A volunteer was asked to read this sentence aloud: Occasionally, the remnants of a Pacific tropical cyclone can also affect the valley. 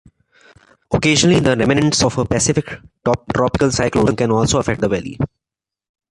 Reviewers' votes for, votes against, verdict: 0, 2, rejected